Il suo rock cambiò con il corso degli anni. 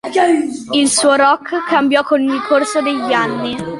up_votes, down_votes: 2, 1